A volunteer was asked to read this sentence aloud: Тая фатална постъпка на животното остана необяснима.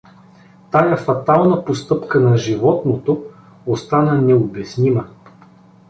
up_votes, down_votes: 2, 0